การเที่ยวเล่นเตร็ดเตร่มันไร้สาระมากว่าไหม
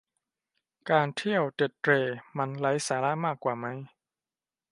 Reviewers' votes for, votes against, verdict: 0, 2, rejected